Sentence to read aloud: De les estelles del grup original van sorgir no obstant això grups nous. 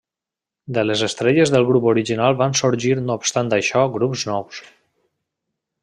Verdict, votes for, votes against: rejected, 1, 2